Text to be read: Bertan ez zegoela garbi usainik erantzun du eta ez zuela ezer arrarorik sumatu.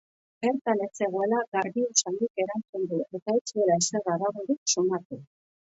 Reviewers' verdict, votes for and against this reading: rejected, 0, 2